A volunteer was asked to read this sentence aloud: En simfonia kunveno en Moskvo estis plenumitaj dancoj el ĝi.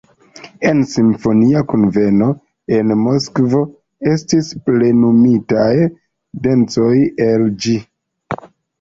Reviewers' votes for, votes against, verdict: 0, 2, rejected